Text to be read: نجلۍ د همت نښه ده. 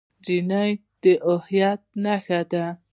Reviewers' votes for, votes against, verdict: 1, 2, rejected